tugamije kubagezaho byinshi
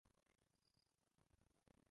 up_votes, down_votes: 0, 2